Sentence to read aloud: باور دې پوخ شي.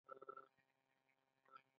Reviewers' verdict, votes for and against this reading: rejected, 0, 2